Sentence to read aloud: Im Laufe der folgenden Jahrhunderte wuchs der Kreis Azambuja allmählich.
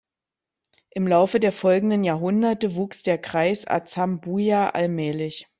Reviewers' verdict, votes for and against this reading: accepted, 2, 0